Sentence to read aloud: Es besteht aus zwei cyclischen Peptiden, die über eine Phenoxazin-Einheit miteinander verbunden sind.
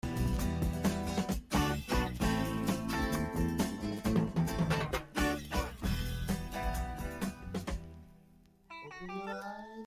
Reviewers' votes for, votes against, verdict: 0, 2, rejected